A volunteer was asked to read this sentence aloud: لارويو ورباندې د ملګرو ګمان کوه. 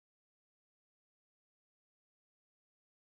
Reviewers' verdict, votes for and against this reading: rejected, 1, 2